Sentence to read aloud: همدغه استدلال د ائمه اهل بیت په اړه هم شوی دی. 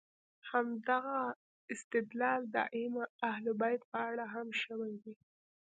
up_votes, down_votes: 2, 0